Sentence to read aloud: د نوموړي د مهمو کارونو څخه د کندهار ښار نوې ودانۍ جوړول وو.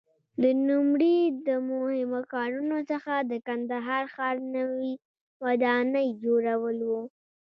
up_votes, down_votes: 1, 2